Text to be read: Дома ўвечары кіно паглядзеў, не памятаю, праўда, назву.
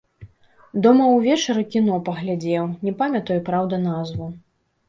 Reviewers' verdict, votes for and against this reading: accepted, 2, 0